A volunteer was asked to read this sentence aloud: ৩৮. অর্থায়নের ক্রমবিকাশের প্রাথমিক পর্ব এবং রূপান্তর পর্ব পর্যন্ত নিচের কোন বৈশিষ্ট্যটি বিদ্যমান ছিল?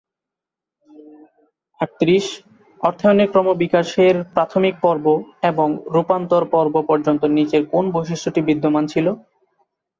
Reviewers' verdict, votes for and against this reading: rejected, 0, 2